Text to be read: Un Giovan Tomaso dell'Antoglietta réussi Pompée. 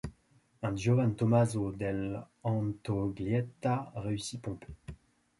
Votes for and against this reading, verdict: 2, 0, accepted